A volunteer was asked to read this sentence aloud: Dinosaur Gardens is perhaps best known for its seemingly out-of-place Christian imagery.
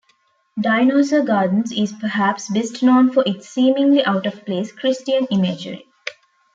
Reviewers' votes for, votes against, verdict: 2, 0, accepted